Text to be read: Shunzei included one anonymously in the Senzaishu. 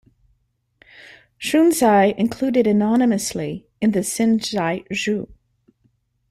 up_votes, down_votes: 0, 2